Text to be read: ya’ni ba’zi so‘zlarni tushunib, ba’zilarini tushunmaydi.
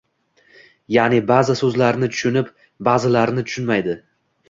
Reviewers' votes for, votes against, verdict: 2, 1, accepted